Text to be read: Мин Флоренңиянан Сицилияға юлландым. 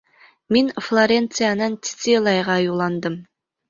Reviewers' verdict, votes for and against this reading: rejected, 0, 2